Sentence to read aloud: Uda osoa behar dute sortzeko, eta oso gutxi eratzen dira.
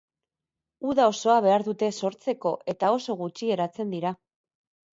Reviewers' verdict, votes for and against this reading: accepted, 6, 0